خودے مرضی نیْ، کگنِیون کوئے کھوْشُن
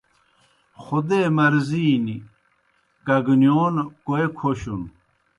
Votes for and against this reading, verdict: 2, 0, accepted